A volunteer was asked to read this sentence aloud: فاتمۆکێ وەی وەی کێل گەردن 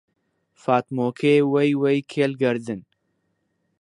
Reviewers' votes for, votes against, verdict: 2, 0, accepted